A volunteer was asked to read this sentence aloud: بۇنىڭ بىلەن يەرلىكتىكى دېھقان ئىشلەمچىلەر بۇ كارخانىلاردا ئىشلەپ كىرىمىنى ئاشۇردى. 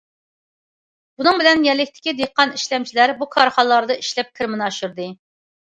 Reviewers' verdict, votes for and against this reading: accepted, 2, 0